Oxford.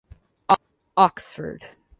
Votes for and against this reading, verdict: 0, 4, rejected